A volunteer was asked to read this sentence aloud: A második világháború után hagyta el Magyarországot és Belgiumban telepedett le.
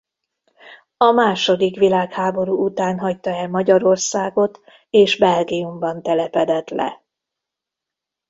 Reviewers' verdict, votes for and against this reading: accepted, 2, 0